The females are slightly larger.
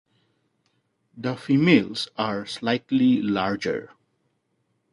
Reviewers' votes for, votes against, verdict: 2, 0, accepted